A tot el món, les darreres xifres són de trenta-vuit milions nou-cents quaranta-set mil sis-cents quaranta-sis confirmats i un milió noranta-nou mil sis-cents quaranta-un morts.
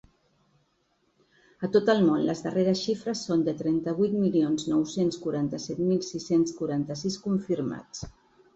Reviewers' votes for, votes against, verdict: 0, 2, rejected